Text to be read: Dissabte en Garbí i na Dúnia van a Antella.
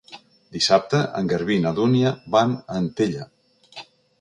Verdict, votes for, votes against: accepted, 3, 0